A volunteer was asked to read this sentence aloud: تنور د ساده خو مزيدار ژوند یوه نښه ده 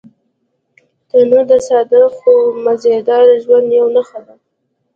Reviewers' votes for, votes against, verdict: 1, 2, rejected